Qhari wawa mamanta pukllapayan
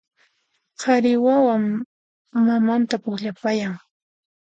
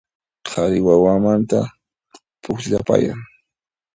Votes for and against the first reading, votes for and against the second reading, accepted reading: 2, 0, 1, 2, first